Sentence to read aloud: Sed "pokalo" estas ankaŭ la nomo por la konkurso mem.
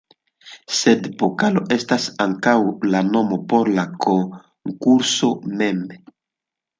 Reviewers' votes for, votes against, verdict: 0, 2, rejected